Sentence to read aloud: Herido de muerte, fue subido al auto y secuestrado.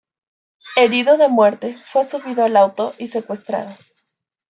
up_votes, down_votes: 1, 2